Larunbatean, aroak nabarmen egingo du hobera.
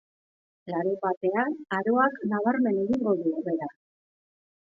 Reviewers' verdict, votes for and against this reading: accepted, 2, 0